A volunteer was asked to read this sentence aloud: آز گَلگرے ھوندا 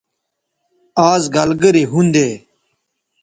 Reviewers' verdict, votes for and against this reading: rejected, 1, 2